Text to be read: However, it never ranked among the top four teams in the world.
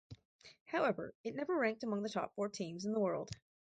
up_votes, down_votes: 2, 2